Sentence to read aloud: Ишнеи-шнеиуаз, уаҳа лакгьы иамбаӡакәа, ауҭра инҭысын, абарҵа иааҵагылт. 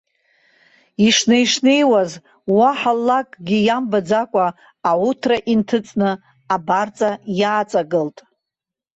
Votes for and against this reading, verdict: 1, 2, rejected